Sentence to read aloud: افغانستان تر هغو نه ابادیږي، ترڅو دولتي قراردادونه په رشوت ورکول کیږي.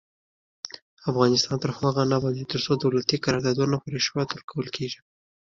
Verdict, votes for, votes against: accepted, 2, 0